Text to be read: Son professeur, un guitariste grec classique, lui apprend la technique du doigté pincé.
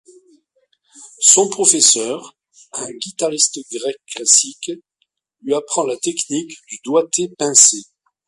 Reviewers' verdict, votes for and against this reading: accepted, 2, 1